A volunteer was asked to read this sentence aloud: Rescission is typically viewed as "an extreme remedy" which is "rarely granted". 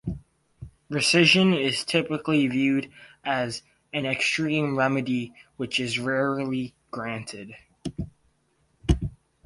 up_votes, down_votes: 2, 0